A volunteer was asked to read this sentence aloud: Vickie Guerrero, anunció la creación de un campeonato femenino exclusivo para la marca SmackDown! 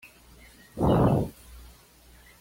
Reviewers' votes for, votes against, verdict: 1, 2, rejected